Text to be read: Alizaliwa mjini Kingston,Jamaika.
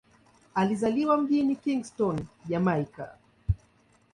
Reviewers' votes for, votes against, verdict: 2, 0, accepted